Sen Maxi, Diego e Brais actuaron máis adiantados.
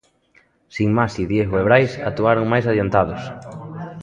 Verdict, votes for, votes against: rejected, 0, 2